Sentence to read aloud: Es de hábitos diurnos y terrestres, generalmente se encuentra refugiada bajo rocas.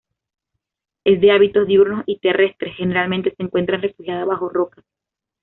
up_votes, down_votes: 2, 0